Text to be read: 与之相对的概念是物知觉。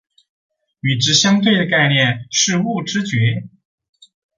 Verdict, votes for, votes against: accepted, 6, 2